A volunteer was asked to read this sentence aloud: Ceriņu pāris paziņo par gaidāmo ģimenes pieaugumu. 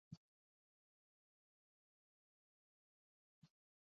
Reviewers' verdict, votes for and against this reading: rejected, 0, 2